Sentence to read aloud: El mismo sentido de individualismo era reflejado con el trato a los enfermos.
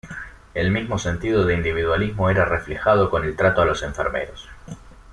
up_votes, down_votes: 1, 2